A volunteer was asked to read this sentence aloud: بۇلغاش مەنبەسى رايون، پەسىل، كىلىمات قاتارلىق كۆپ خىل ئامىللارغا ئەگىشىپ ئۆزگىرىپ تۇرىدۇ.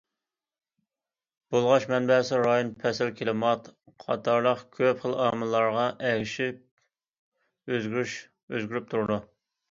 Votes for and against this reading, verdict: 0, 2, rejected